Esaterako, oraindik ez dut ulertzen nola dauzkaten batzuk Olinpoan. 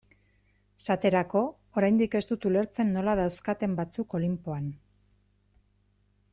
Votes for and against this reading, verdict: 2, 0, accepted